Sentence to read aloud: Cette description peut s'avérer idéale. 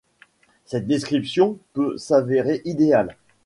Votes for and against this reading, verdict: 2, 0, accepted